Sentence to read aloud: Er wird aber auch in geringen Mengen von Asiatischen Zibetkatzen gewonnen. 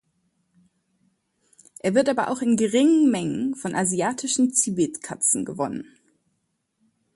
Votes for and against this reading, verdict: 2, 0, accepted